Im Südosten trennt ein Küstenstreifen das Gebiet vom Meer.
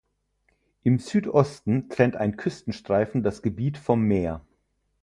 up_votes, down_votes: 4, 0